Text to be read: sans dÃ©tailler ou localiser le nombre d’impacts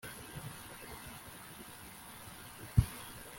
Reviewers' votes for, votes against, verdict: 0, 2, rejected